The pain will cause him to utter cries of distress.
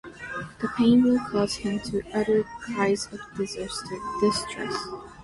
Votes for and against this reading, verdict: 0, 2, rejected